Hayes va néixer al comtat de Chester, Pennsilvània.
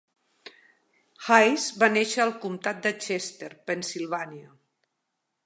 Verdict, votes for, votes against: rejected, 0, 2